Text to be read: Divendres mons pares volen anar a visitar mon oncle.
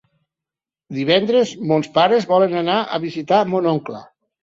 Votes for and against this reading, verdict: 4, 0, accepted